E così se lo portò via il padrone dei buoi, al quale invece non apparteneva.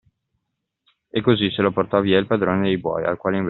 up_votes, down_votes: 0, 2